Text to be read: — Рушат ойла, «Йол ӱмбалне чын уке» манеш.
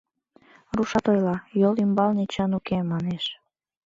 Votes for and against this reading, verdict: 3, 0, accepted